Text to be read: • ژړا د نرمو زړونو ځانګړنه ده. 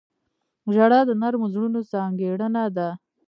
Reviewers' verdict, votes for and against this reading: rejected, 1, 2